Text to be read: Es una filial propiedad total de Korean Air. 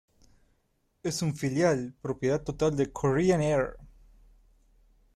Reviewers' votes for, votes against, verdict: 0, 2, rejected